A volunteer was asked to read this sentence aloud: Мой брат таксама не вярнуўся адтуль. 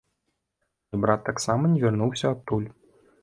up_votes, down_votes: 0, 2